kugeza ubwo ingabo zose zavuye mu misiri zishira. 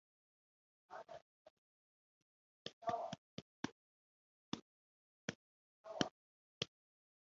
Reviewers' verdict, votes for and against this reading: rejected, 0, 3